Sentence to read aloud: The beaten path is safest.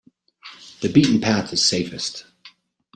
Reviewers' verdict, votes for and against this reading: accepted, 2, 0